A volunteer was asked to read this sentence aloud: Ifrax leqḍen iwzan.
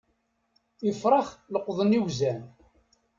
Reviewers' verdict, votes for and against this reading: accepted, 2, 0